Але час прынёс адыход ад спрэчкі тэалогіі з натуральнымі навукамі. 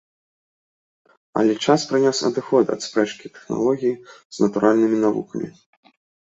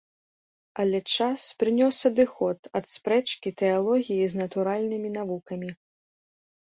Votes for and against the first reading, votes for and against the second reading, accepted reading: 1, 2, 2, 0, second